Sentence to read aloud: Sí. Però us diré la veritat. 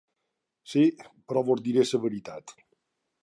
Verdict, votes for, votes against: rejected, 1, 2